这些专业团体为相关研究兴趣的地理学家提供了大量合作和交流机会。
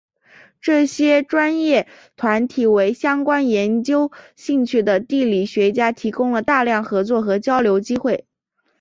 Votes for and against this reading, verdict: 8, 1, accepted